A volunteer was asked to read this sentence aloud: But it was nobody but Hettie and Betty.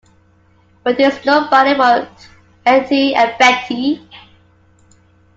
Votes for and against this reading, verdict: 2, 1, accepted